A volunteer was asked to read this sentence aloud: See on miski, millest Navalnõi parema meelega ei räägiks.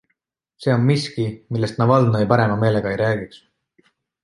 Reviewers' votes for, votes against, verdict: 2, 0, accepted